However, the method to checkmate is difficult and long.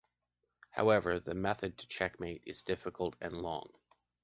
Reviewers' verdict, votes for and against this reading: accepted, 2, 0